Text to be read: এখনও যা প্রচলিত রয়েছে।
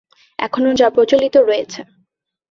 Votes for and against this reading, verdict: 2, 0, accepted